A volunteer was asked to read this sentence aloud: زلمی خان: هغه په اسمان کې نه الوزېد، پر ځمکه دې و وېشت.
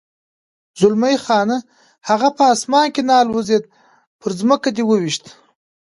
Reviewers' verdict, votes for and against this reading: accepted, 2, 0